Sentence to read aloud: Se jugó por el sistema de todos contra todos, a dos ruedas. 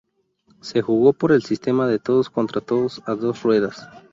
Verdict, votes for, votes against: accepted, 4, 0